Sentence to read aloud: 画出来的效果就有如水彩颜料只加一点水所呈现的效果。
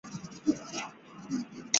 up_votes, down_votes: 0, 3